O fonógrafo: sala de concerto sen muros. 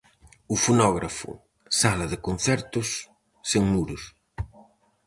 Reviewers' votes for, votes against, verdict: 0, 4, rejected